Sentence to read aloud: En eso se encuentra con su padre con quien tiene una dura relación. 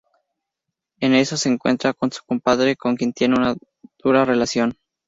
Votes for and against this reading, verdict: 2, 0, accepted